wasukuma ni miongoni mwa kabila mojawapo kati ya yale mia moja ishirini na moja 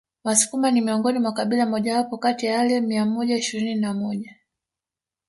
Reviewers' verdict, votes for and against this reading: rejected, 1, 2